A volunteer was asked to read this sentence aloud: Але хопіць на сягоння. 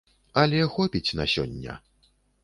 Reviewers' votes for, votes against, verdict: 1, 2, rejected